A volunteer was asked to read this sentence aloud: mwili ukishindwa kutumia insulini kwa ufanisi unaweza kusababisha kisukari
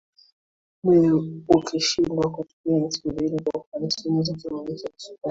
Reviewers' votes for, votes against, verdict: 0, 2, rejected